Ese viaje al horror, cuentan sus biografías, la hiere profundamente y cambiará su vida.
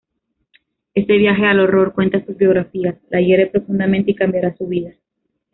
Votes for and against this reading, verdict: 2, 0, accepted